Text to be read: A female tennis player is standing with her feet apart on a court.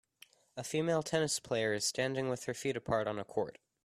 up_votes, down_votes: 2, 0